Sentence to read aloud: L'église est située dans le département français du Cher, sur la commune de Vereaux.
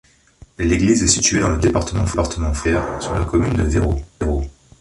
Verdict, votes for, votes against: rejected, 0, 3